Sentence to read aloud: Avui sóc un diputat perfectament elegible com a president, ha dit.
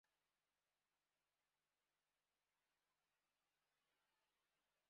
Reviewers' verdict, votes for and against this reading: rejected, 1, 2